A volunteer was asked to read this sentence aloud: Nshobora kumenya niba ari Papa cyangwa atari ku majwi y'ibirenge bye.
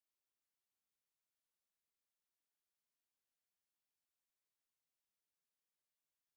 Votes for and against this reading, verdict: 0, 2, rejected